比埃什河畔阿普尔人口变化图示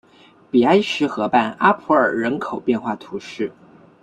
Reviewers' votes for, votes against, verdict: 2, 0, accepted